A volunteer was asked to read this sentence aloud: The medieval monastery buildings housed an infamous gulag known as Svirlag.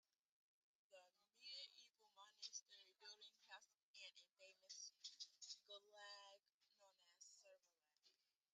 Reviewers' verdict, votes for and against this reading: rejected, 0, 2